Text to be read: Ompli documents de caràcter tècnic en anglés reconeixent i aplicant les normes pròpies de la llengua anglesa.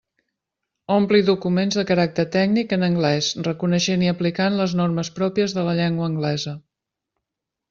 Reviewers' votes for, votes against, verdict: 3, 0, accepted